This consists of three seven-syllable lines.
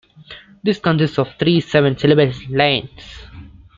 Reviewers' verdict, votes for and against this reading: accepted, 2, 1